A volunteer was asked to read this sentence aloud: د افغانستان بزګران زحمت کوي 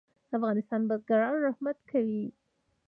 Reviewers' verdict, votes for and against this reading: rejected, 1, 2